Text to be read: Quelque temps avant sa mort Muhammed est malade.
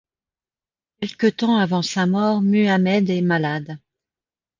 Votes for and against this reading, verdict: 2, 0, accepted